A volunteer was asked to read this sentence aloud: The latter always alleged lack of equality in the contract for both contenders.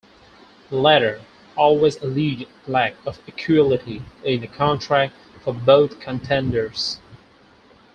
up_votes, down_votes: 4, 2